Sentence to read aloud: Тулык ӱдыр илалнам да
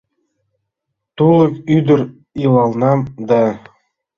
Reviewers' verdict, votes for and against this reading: accepted, 2, 0